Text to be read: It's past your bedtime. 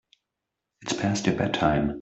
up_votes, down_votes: 2, 1